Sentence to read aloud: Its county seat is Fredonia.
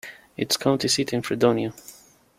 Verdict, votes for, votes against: rejected, 1, 2